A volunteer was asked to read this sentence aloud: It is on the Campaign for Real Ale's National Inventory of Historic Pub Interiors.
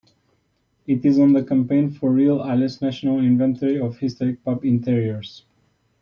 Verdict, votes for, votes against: accepted, 2, 0